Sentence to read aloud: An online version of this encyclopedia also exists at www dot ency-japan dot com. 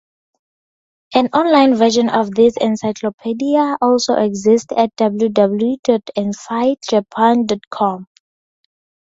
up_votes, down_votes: 2, 2